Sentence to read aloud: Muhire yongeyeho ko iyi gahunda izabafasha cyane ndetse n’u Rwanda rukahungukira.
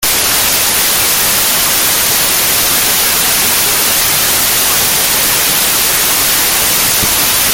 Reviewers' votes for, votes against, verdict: 0, 2, rejected